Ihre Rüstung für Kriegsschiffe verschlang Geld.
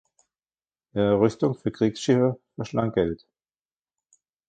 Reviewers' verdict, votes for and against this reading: accepted, 2, 1